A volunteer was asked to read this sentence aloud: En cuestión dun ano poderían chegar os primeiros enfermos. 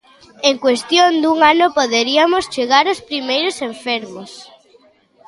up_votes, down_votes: 0, 2